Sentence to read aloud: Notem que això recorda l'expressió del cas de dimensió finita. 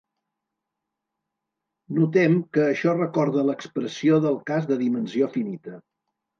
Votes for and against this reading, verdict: 2, 0, accepted